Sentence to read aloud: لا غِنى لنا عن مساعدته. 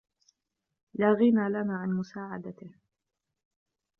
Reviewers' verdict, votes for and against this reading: accepted, 2, 0